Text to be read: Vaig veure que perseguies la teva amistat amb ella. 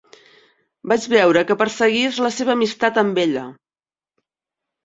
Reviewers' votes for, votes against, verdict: 0, 2, rejected